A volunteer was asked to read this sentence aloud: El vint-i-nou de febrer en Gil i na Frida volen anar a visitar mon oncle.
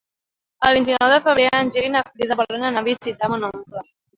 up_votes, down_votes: 0, 2